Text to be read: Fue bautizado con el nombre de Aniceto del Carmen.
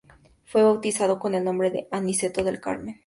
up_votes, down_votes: 4, 0